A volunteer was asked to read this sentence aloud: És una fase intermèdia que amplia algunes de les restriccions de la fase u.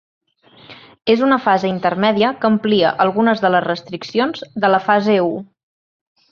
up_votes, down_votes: 3, 0